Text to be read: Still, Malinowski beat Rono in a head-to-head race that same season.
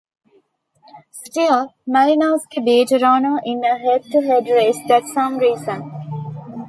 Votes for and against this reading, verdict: 1, 2, rejected